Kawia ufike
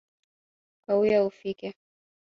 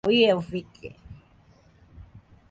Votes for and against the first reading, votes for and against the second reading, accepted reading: 2, 0, 1, 2, first